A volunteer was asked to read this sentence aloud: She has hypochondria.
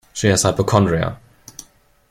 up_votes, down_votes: 2, 0